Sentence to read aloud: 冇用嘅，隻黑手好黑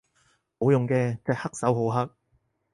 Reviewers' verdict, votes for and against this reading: accepted, 4, 0